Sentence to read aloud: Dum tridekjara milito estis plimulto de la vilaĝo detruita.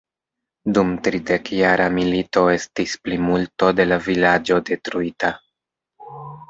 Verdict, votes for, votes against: accepted, 2, 0